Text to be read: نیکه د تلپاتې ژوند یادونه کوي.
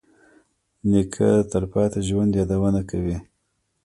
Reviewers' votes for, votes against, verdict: 1, 2, rejected